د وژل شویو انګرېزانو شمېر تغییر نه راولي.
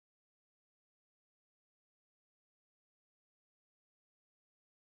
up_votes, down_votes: 1, 2